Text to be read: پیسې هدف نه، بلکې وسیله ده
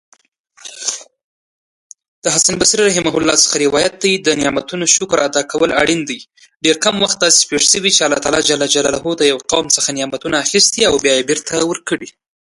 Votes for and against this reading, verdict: 0, 2, rejected